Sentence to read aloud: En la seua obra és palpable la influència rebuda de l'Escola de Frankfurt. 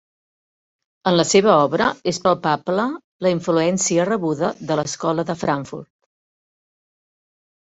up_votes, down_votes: 2, 0